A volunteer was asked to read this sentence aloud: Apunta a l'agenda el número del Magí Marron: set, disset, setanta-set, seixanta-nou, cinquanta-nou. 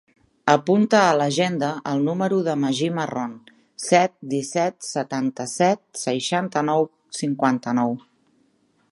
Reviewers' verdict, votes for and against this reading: rejected, 0, 2